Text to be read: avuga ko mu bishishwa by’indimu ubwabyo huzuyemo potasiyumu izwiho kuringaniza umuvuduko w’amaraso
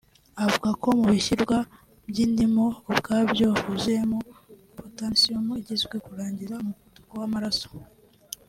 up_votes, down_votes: 1, 2